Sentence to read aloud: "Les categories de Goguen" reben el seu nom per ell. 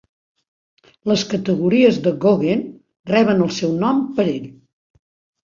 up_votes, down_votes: 2, 0